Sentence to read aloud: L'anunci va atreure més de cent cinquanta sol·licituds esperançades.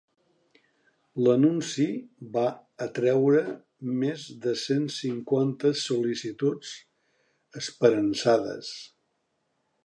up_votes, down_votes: 3, 1